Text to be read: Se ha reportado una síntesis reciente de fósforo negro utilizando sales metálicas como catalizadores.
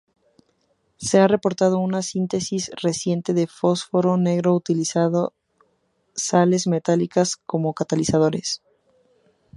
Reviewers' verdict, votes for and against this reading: rejected, 0, 2